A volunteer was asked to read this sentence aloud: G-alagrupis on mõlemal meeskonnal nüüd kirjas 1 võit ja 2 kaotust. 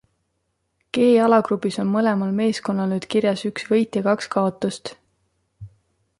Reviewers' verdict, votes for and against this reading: rejected, 0, 2